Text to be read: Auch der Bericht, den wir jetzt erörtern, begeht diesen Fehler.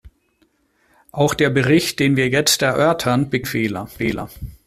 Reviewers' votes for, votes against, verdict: 0, 2, rejected